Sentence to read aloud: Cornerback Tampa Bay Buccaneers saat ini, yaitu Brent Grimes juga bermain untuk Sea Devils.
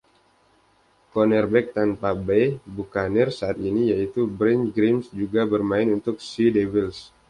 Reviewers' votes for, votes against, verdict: 1, 2, rejected